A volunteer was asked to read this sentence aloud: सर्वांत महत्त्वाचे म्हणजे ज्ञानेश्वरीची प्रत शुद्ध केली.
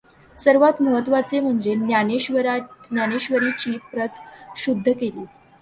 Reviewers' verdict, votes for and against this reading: rejected, 0, 2